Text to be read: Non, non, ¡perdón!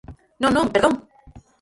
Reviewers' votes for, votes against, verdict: 0, 4, rejected